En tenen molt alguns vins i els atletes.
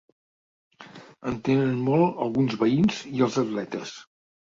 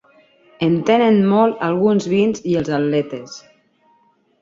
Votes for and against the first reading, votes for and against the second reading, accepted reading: 1, 2, 2, 0, second